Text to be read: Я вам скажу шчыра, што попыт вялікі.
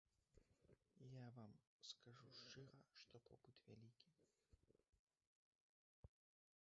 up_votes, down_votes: 2, 0